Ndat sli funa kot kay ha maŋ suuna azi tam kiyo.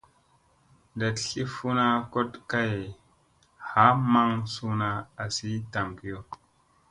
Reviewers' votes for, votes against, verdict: 2, 0, accepted